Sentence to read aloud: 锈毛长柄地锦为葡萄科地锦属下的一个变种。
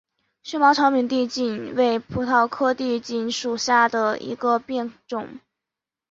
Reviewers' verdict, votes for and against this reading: accepted, 3, 0